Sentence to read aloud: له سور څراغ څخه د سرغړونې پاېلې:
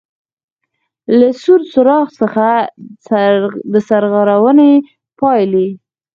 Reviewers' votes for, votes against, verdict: 0, 4, rejected